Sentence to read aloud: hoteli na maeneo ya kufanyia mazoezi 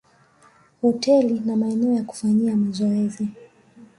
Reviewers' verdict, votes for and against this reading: rejected, 1, 2